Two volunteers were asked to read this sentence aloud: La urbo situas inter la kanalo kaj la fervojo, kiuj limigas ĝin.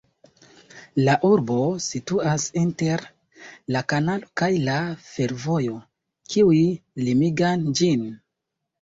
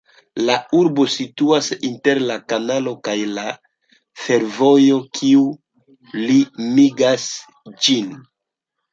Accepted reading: second